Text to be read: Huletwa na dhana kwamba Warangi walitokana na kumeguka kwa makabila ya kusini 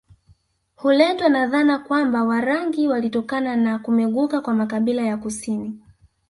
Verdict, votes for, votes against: rejected, 0, 2